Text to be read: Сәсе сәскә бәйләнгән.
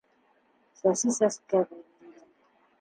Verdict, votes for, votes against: rejected, 0, 2